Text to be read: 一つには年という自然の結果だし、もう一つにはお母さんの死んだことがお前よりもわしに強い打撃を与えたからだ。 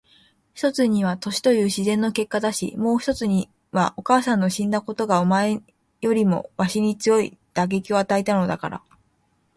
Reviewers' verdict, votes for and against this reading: rejected, 1, 2